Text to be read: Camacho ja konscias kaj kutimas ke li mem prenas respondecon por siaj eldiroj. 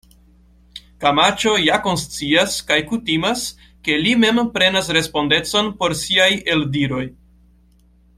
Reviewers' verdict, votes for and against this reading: rejected, 1, 2